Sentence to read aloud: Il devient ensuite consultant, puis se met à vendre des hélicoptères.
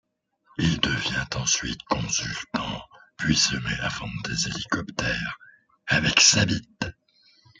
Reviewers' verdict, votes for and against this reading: rejected, 0, 2